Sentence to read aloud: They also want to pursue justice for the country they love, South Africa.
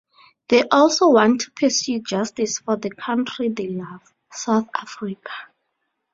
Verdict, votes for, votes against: accepted, 2, 0